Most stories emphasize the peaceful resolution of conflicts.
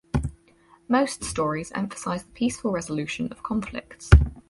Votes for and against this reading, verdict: 2, 2, rejected